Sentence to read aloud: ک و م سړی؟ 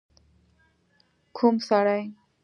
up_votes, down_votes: 2, 0